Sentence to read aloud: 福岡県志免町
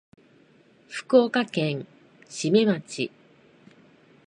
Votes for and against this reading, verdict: 2, 0, accepted